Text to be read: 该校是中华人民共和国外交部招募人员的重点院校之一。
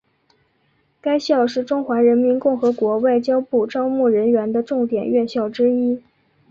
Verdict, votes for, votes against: rejected, 1, 2